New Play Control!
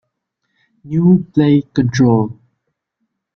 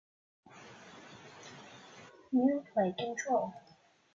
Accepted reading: first